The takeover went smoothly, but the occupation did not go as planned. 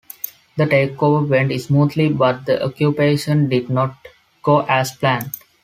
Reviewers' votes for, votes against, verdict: 2, 0, accepted